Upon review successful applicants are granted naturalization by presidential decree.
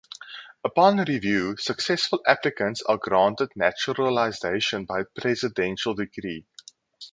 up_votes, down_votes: 4, 0